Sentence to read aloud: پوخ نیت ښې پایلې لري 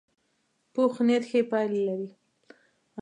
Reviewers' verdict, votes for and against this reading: accepted, 2, 0